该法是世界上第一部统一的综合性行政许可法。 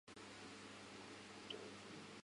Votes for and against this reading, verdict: 0, 4, rejected